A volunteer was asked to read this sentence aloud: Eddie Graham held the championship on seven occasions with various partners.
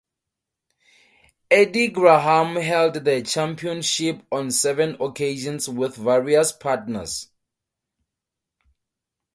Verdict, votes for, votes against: accepted, 4, 0